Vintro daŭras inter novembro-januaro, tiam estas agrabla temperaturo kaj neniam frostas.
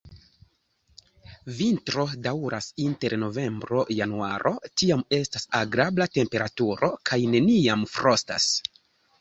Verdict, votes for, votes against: accepted, 3, 0